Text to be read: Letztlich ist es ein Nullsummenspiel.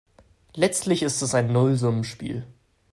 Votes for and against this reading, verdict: 3, 0, accepted